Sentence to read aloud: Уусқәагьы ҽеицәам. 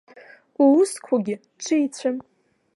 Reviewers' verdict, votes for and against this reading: rejected, 1, 2